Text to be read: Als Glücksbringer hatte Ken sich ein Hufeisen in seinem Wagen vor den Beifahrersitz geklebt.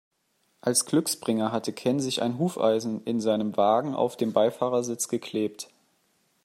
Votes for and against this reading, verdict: 1, 3, rejected